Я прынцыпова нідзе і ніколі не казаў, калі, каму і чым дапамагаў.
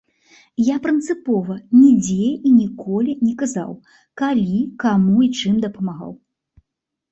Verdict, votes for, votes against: accepted, 2, 0